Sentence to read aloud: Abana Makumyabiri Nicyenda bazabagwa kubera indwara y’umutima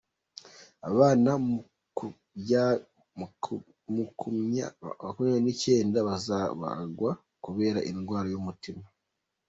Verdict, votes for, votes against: rejected, 1, 2